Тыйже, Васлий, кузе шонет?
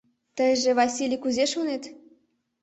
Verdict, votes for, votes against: rejected, 0, 2